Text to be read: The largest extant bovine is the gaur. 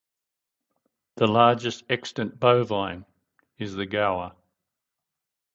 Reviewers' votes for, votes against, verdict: 4, 0, accepted